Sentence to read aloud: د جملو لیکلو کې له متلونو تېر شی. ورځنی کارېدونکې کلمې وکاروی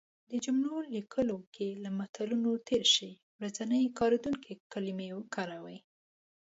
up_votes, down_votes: 2, 0